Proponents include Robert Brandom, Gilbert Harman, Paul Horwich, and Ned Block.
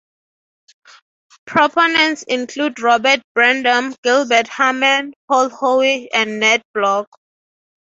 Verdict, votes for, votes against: rejected, 0, 3